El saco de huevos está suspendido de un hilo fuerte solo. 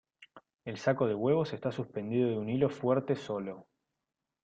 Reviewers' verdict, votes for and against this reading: accepted, 2, 0